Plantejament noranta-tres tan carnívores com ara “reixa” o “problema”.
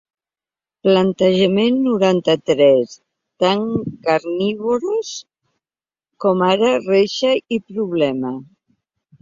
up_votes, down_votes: 1, 2